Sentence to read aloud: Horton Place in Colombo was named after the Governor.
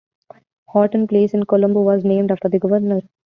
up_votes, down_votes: 2, 0